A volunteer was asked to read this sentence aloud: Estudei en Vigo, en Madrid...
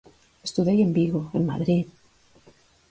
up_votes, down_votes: 4, 0